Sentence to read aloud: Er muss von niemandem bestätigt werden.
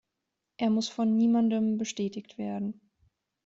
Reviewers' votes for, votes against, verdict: 2, 0, accepted